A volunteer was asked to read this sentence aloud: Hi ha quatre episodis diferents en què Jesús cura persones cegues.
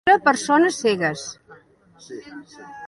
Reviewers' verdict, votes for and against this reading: rejected, 0, 2